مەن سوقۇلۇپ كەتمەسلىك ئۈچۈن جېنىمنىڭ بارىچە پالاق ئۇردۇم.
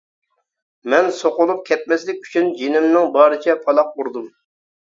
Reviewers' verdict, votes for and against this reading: accepted, 2, 0